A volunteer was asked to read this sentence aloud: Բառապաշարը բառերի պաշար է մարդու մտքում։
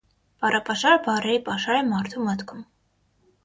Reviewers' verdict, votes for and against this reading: accepted, 6, 0